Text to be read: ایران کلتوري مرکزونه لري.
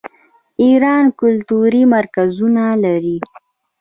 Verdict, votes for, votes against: rejected, 1, 2